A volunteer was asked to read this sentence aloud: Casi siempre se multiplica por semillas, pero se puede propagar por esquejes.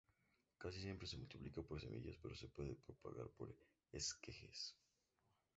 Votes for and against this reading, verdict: 2, 0, accepted